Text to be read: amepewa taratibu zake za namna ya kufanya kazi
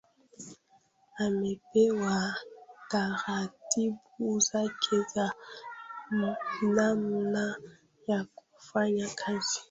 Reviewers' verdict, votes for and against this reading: rejected, 1, 2